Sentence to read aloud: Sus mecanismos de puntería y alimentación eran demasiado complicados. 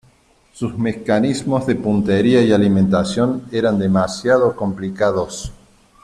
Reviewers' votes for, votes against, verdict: 1, 2, rejected